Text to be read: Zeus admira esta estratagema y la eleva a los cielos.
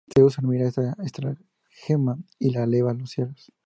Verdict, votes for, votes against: rejected, 0, 2